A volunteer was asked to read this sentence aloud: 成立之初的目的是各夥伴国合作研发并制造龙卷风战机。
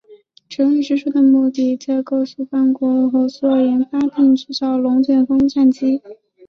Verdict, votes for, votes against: accepted, 5, 0